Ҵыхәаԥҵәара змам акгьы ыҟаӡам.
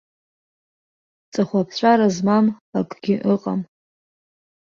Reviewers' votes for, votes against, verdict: 1, 2, rejected